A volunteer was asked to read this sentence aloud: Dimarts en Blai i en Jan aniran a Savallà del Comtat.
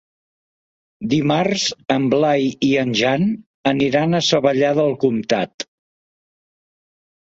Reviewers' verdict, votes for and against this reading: accepted, 2, 0